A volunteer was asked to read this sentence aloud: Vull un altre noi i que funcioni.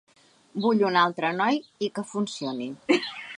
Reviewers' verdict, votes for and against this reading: accepted, 3, 1